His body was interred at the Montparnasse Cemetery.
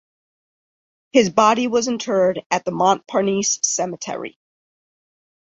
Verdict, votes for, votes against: rejected, 0, 2